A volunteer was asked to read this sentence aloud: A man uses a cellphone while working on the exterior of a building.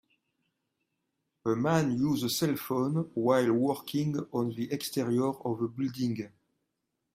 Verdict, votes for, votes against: rejected, 2, 3